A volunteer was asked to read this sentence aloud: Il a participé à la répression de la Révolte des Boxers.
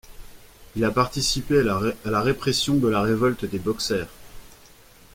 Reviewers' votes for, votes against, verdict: 0, 2, rejected